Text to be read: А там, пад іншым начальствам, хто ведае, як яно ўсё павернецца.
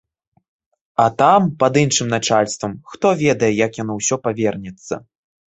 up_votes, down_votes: 2, 0